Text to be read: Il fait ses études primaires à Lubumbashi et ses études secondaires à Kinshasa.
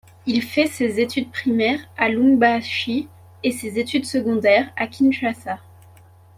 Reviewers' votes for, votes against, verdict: 1, 2, rejected